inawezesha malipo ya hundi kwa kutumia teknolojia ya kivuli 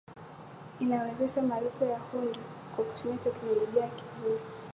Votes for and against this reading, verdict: 2, 5, rejected